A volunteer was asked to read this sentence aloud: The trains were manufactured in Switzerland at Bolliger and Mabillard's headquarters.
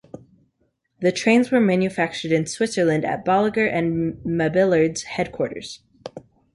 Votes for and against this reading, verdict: 2, 0, accepted